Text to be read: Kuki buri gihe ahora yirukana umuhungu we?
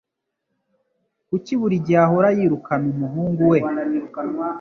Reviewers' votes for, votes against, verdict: 2, 0, accepted